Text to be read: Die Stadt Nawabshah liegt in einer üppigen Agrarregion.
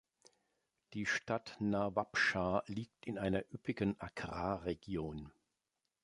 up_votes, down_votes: 2, 0